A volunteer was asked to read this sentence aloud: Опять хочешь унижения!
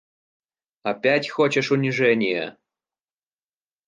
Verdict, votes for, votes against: accepted, 2, 0